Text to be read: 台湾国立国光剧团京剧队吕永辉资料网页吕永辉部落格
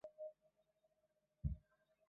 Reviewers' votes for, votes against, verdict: 1, 3, rejected